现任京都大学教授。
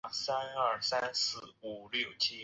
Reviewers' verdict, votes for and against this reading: rejected, 1, 2